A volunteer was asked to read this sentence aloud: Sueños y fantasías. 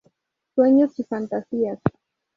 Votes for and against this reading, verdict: 0, 2, rejected